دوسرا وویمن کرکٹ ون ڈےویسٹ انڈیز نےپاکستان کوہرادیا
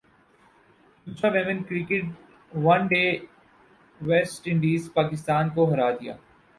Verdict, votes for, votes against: rejected, 2, 6